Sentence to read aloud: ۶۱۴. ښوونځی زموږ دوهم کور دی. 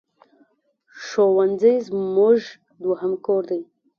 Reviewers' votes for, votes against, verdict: 0, 2, rejected